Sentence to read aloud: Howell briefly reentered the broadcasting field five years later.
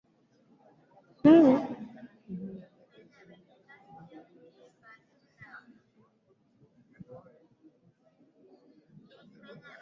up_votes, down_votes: 0, 2